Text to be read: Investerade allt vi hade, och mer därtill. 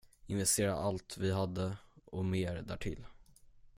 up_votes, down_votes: 5, 10